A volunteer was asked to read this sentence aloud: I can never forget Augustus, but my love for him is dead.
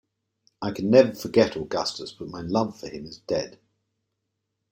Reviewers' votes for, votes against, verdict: 2, 0, accepted